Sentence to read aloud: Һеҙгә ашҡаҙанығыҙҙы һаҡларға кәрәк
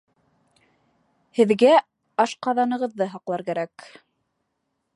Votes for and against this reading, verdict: 2, 3, rejected